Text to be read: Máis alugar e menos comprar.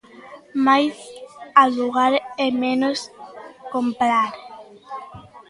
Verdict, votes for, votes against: rejected, 1, 2